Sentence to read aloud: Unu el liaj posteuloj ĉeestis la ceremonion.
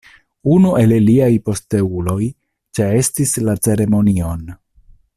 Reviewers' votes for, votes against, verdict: 0, 2, rejected